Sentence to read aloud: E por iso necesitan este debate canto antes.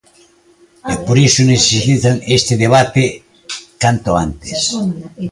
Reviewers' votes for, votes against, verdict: 2, 1, accepted